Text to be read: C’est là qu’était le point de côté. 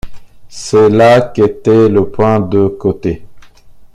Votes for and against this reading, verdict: 2, 0, accepted